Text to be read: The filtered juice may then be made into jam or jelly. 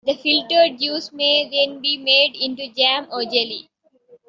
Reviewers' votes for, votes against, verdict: 2, 1, accepted